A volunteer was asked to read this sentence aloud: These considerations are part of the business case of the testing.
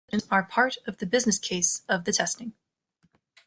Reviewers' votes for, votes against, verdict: 0, 2, rejected